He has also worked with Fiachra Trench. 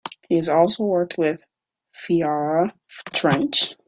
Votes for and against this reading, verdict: 1, 2, rejected